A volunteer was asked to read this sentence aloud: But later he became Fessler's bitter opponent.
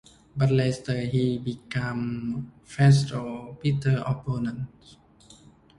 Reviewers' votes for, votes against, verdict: 1, 2, rejected